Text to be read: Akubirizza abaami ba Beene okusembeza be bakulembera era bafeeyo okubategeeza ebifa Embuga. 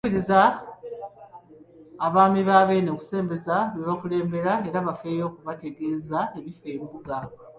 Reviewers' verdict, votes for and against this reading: rejected, 0, 2